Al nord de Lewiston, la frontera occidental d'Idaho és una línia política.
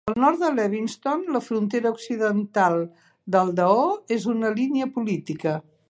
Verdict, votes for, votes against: rejected, 0, 2